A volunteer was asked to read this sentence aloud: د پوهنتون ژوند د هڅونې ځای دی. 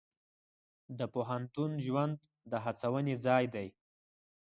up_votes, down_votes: 4, 0